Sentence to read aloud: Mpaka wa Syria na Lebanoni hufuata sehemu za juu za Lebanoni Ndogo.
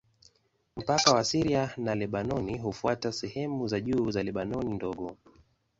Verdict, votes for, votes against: accepted, 2, 0